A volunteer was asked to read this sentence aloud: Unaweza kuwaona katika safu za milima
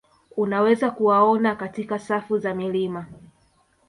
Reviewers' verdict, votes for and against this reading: rejected, 0, 2